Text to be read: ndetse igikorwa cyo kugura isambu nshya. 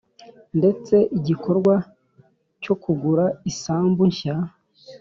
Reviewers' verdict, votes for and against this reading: accepted, 3, 0